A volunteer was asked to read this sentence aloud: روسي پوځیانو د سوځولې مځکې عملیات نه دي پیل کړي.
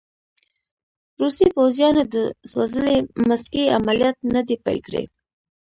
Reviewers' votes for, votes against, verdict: 1, 2, rejected